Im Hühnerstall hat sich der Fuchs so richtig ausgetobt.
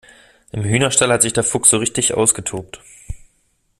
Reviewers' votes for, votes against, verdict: 2, 0, accepted